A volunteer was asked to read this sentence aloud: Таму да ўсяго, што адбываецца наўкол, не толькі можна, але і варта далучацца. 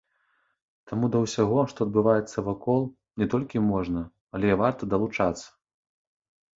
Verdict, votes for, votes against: rejected, 0, 2